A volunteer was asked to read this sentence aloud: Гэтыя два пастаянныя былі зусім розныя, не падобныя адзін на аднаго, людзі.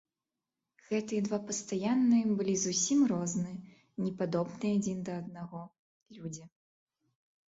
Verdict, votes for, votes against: accepted, 3, 0